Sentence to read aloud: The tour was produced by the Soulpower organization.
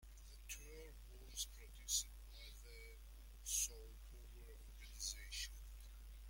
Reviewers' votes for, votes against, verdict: 0, 2, rejected